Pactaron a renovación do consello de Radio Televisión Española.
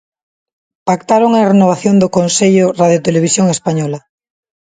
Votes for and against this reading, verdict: 0, 2, rejected